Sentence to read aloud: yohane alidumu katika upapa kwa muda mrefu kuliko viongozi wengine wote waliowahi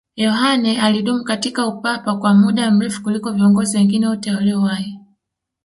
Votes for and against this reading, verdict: 2, 3, rejected